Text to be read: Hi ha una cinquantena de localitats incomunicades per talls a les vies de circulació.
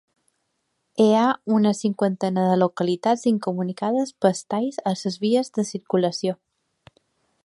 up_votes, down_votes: 0, 2